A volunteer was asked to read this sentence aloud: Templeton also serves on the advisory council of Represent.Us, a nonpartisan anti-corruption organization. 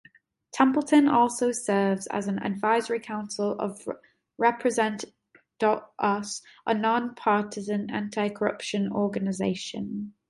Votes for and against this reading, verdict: 0, 2, rejected